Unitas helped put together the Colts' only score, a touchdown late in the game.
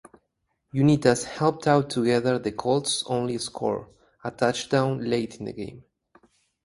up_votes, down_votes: 2, 2